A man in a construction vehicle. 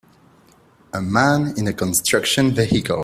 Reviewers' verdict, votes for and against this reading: accepted, 2, 0